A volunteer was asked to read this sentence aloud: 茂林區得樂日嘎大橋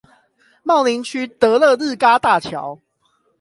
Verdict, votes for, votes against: accepted, 8, 0